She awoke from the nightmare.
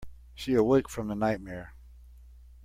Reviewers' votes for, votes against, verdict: 0, 2, rejected